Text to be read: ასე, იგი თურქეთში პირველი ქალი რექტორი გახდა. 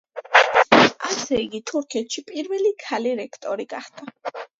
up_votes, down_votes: 1, 2